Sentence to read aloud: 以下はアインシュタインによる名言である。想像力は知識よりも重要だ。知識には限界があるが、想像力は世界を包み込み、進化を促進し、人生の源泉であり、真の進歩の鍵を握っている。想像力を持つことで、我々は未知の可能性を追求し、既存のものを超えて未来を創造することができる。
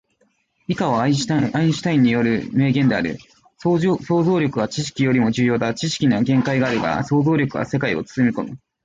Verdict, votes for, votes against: accepted, 2, 0